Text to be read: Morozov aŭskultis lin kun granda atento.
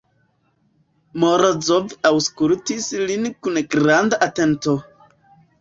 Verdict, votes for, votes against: accepted, 2, 0